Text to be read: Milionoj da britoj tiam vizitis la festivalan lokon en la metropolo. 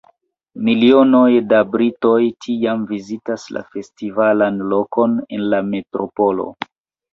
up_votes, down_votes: 2, 0